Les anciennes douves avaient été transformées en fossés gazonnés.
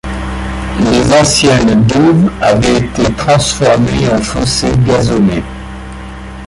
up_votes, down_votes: 2, 1